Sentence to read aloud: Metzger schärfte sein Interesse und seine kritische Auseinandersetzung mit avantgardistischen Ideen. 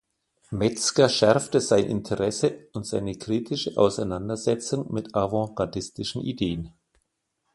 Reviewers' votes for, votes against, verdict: 2, 1, accepted